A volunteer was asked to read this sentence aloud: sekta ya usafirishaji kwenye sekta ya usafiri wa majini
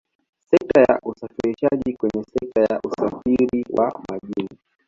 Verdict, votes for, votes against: rejected, 1, 2